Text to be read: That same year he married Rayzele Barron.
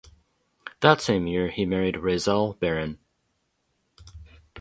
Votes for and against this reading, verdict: 2, 0, accepted